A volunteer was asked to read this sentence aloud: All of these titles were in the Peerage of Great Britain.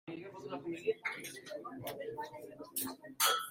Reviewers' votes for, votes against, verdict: 0, 2, rejected